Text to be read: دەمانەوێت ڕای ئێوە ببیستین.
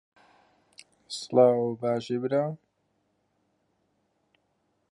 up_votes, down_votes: 0, 2